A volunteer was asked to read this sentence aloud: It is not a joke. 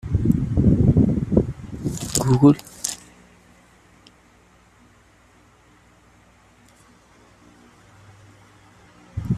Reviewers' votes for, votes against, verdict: 0, 2, rejected